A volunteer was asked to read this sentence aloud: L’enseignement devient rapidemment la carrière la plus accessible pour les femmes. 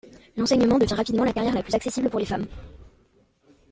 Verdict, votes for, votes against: rejected, 1, 2